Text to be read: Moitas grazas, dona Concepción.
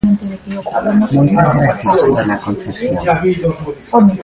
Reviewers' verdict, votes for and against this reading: rejected, 0, 2